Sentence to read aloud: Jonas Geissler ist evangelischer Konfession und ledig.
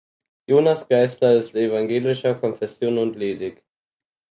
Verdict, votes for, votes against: accepted, 4, 0